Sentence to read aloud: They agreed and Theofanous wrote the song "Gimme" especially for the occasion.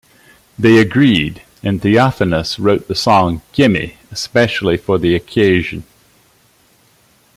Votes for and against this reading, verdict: 2, 1, accepted